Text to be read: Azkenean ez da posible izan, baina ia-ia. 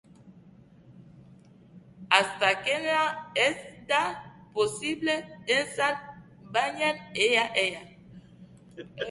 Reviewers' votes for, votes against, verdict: 0, 3, rejected